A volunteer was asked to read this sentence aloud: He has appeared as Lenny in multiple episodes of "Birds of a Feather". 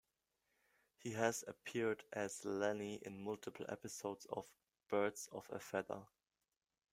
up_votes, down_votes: 2, 0